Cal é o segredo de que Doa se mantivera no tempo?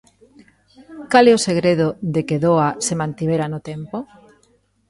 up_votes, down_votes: 2, 0